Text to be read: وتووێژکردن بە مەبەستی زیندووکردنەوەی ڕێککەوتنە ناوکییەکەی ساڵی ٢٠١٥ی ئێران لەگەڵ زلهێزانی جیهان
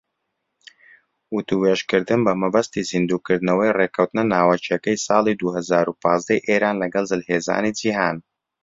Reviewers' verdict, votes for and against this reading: rejected, 0, 2